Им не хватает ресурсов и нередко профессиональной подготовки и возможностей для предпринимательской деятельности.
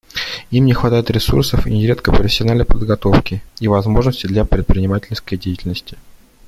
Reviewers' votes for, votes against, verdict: 2, 0, accepted